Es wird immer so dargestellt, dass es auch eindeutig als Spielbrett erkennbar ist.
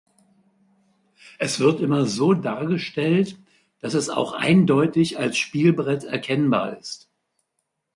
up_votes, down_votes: 0, 2